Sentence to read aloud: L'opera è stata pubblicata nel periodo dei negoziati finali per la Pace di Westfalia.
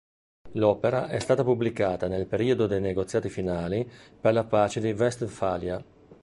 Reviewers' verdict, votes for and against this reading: accepted, 2, 0